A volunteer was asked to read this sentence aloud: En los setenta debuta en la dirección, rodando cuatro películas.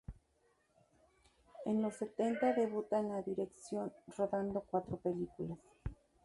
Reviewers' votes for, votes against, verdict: 2, 2, rejected